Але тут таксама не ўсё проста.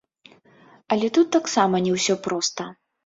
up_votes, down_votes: 0, 2